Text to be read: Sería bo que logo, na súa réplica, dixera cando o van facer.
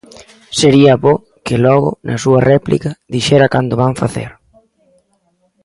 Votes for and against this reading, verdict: 3, 0, accepted